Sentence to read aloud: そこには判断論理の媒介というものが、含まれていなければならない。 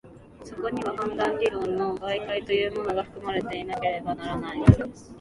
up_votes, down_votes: 1, 2